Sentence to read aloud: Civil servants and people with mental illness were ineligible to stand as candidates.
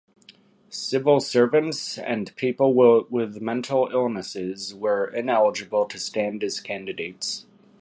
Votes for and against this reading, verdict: 1, 2, rejected